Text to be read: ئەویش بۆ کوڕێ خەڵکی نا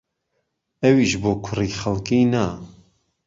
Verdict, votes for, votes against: rejected, 0, 2